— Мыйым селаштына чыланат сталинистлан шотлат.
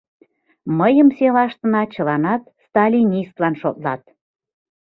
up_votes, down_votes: 2, 0